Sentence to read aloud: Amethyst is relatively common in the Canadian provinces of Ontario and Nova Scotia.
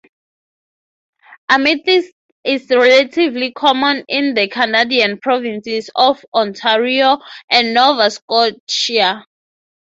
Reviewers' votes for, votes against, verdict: 3, 0, accepted